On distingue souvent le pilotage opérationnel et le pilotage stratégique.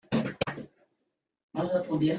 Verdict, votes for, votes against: rejected, 0, 2